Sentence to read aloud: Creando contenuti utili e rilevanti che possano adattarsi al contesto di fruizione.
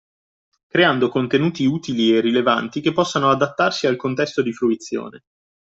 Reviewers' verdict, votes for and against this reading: accepted, 2, 0